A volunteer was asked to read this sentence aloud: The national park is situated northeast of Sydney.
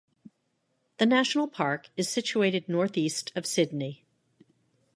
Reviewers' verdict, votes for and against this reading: accepted, 2, 0